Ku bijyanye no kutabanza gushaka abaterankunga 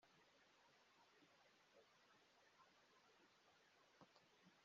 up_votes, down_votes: 1, 3